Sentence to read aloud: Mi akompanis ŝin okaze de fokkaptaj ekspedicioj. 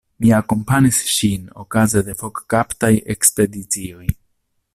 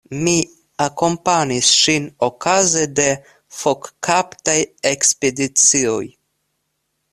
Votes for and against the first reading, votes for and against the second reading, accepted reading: 1, 2, 2, 0, second